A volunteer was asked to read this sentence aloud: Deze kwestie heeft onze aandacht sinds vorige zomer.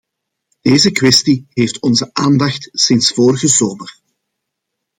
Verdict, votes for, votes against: accepted, 2, 0